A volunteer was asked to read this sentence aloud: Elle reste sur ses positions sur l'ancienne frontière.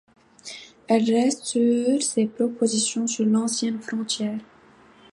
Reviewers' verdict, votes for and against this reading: rejected, 0, 2